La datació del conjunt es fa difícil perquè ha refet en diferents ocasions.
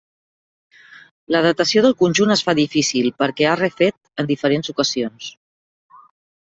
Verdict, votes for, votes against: accepted, 3, 0